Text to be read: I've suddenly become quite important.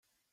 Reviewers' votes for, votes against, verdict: 0, 2, rejected